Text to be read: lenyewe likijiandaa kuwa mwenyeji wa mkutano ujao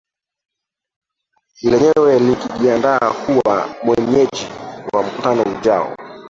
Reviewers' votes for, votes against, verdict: 0, 2, rejected